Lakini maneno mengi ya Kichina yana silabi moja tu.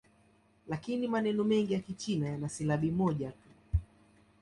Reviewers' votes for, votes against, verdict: 1, 2, rejected